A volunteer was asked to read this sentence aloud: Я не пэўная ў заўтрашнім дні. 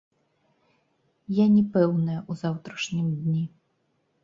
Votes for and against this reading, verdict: 1, 2, rejected